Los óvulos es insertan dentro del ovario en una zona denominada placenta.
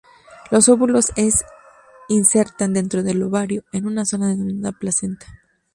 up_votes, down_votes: 0, 2